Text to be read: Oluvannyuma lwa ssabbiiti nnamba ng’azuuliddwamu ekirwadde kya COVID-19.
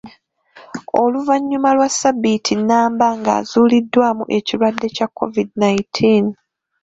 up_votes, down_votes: 0, 2